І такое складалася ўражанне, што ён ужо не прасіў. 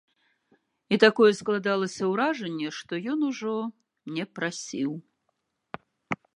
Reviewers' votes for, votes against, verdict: 2, 0, accepted